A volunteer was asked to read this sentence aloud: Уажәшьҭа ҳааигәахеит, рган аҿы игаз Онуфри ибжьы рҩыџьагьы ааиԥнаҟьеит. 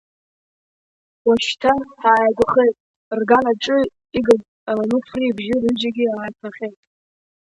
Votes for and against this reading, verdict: 1, 4, rejected